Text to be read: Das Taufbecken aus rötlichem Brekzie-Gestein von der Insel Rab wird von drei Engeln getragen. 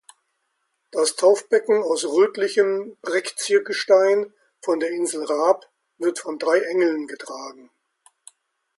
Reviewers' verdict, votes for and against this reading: accepted, 2, 0